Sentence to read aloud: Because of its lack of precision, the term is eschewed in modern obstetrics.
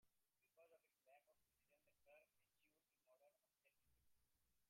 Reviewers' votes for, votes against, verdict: 0, 2, rejected